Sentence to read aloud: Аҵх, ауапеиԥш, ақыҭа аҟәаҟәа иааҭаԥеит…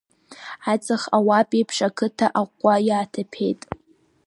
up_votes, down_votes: 3, 8